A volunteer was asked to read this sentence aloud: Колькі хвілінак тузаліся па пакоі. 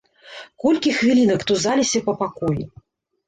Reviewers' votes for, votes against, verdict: 0, 2, rejected